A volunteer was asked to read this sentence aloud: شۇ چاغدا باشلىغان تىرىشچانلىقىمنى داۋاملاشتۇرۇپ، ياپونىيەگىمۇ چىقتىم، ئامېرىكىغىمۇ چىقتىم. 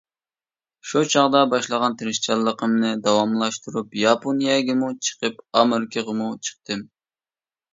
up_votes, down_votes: 0, 2